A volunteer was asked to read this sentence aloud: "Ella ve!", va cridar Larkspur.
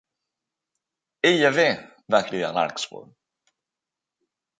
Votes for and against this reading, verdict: 2, 0, accepted